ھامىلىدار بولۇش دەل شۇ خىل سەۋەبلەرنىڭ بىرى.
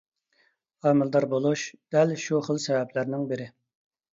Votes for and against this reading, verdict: 2, 0, accepted